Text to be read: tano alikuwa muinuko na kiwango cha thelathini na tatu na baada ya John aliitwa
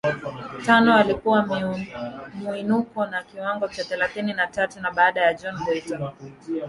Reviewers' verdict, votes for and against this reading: rejected, 1, 2